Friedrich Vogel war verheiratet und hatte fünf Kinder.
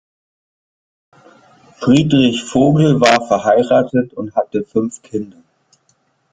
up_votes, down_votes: 1, 2